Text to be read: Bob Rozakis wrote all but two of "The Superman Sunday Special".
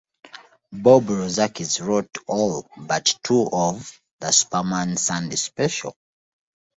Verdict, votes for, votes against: accepted, 2, 0